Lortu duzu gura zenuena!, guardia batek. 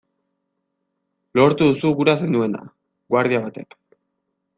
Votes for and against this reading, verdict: 2, 0, accepted